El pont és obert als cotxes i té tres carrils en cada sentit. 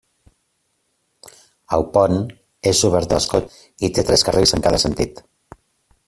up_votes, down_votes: 1, 2